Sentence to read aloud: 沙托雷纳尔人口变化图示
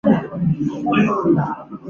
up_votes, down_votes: 0, 4